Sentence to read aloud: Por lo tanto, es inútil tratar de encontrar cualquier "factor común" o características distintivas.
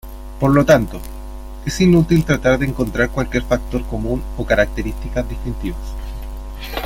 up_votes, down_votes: 0, 2